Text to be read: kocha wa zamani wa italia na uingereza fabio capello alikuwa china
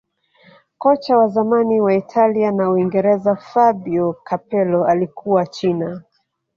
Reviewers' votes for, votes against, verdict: 0, 2, rejected